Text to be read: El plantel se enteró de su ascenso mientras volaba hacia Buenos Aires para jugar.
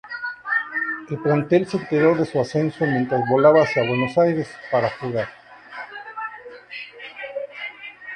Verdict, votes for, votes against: rejected, 0, 2